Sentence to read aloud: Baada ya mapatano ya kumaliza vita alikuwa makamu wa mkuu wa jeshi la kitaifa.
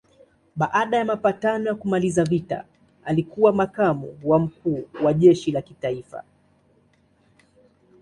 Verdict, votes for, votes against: accepted, 2, 0